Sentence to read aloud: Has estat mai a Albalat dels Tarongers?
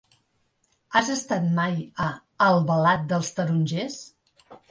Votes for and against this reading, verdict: 3, 0, accepted